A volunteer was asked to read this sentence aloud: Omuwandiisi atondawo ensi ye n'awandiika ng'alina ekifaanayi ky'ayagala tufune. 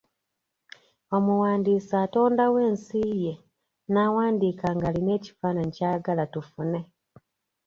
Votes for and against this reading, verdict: 2, 0, accepted